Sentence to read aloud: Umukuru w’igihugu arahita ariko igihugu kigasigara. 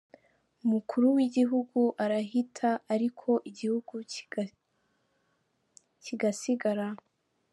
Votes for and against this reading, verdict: 0, 3, rejected